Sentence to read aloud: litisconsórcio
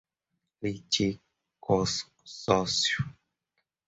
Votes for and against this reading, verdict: 0, 2, rejected